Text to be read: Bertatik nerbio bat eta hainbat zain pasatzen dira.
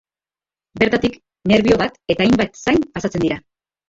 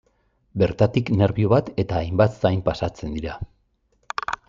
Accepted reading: second